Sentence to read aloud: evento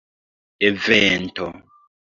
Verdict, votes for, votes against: rejected, 0, 2